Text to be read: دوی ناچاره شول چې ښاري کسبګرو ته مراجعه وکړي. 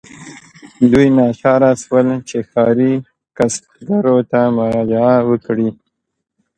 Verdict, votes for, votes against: accepted, 2, 1